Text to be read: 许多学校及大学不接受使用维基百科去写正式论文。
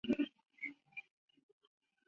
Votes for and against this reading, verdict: 1, 3, rejected